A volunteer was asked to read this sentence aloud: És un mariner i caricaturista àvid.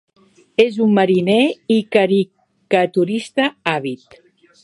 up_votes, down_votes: 2, 1